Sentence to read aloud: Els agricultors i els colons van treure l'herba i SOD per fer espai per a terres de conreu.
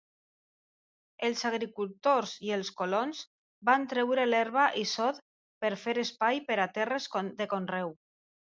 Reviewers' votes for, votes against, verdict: 0, 2, rejected